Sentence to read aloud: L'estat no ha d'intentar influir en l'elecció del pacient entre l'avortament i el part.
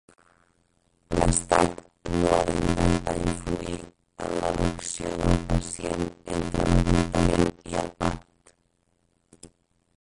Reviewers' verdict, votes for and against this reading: rejected, 0, 4